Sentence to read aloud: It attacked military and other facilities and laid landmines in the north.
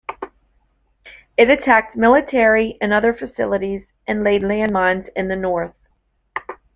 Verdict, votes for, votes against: accepted, 2, 0